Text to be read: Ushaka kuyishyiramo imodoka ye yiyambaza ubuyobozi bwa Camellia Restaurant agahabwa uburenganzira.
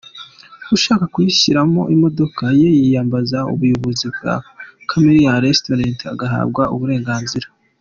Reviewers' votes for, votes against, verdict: 3, 0, accepted